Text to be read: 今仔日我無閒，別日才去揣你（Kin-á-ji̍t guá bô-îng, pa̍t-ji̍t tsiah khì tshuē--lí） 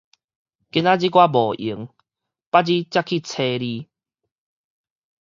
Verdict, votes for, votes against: rejected, 2, 2